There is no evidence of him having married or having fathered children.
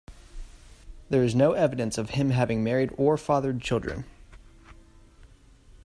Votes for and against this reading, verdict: 0, 2, rejected